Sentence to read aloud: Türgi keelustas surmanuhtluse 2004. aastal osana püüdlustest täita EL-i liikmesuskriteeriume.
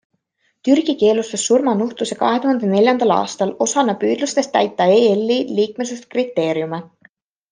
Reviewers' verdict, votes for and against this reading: rejected, 0, 2